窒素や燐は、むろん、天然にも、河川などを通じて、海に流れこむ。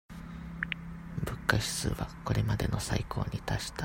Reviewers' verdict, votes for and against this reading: rejected, 0, 2